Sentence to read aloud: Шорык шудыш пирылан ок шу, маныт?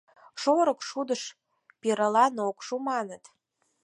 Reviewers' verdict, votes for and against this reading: accepted, 4, 0